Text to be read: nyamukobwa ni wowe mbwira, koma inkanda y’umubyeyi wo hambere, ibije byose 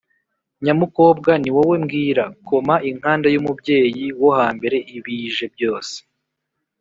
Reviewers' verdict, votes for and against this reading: accepted, 4, 0